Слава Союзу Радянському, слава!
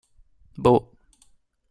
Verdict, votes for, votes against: rejected, 0, 2